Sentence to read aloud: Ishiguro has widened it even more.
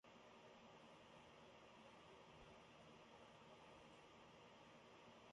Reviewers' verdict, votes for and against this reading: rejected, 0, 2